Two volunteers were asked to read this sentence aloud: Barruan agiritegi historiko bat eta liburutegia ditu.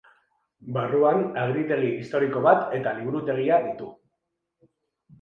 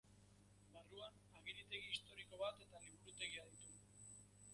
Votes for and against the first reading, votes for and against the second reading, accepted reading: 2, 0, 1, 3, first